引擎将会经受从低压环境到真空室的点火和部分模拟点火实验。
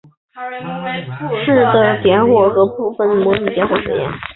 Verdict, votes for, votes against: rejected, 1, 3